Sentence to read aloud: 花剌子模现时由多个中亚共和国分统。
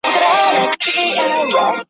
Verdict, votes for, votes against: rejected, 0, 2